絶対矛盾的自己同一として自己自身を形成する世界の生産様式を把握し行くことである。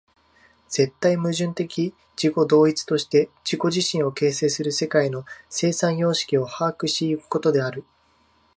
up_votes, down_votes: 0, 2